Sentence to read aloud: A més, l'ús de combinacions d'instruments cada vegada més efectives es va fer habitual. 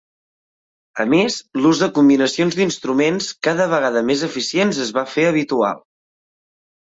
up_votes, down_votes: 1, 2